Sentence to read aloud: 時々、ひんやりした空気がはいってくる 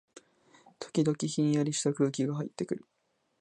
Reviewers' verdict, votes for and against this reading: accepted, 2, 0